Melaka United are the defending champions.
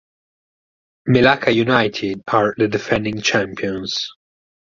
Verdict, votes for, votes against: rejected, 2, 4